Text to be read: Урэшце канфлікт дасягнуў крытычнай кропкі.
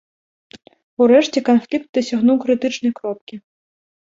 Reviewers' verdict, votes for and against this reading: accepted, 2, 0